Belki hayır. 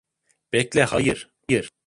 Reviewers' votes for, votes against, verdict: 0, 2, rejected